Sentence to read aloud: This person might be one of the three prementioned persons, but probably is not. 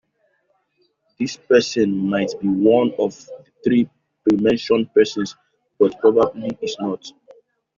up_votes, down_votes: 2, 0